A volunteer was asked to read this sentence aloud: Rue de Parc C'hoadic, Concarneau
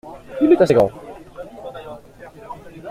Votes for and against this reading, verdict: 0, 2, rejected